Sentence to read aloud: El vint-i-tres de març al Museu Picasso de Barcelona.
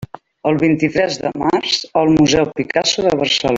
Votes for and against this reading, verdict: 0, 2, rejected